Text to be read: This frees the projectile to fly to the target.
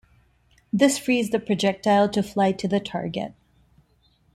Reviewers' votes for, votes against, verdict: 2, 0, accepted